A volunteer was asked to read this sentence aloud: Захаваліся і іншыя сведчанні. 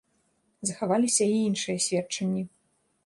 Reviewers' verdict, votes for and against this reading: accepted, 2, 0